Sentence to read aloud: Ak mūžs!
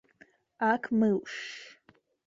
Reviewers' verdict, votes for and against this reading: rejected, 1, 5